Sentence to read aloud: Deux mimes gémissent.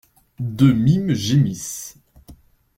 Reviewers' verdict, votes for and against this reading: accepted, 2, 0